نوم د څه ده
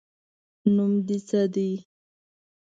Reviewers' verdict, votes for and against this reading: rejected, 1, 2